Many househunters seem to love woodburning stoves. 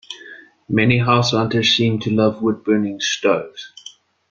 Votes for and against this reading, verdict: 2, 0, accepted